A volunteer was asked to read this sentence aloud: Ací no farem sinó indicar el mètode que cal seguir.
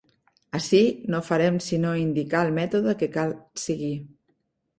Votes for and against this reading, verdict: 0, 2, rejected